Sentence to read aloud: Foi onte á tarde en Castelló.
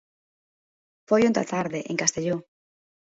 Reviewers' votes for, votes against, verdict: 2, 1, accepted